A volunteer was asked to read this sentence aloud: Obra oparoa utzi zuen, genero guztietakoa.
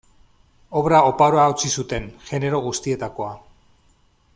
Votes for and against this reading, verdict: 0, 2, rejected